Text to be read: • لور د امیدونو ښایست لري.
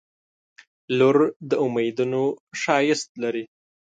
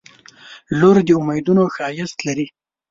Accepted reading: second